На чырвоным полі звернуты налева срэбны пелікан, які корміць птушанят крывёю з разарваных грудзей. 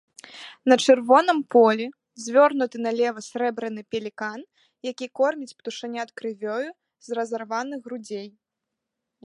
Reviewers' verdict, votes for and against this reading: rejected, 0, 2